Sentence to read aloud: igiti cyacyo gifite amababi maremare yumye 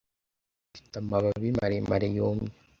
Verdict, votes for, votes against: rejected, 0, 2